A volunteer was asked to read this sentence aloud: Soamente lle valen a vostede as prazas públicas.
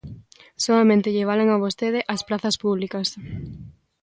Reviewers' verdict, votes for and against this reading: accepted, 3, 0